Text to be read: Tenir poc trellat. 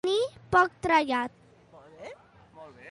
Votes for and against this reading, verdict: 0, 2, rejected